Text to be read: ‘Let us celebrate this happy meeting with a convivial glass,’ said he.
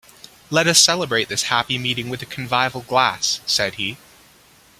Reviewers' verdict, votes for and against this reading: accepted, 2, 0